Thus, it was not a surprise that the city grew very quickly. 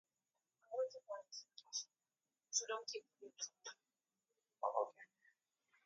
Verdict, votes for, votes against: rejected, 0, 2